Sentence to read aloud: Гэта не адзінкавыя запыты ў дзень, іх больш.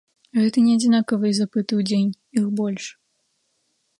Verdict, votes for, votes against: rejected, 0, 2